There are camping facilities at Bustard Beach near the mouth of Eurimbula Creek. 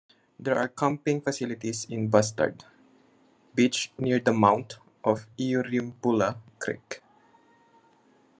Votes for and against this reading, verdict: 1, 2, rejected